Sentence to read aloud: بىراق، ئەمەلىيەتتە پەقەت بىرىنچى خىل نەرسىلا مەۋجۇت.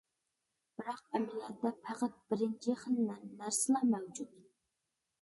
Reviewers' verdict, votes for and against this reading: accepted, 2, 0